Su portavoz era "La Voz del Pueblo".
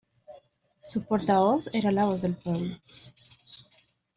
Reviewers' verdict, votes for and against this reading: accepted, 2, 0